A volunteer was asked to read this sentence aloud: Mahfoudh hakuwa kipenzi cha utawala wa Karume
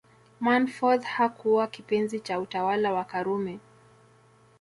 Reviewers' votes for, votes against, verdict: 1, 2, rejected